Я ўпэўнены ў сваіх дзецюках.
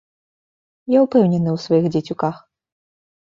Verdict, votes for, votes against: accepted, 2, 0